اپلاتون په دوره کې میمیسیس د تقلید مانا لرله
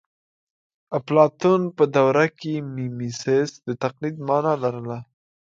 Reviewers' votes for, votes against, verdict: 2, 0, accepted